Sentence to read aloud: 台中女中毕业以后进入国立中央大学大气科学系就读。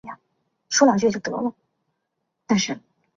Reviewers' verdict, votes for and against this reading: rejected, 0, 5